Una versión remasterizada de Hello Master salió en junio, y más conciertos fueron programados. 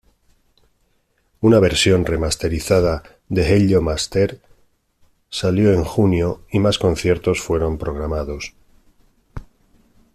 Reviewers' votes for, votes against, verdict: 2, 0, accepted